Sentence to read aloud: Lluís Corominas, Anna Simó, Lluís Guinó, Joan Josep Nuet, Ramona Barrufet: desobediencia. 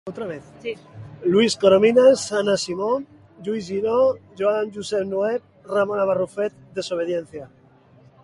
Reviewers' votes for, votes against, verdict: 0, 3, rejected